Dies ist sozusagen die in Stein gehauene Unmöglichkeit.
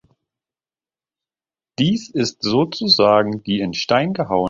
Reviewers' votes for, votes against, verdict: 0, 2, rejected